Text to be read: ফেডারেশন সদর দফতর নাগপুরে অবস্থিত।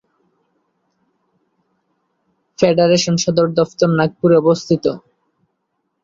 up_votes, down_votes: 0, 2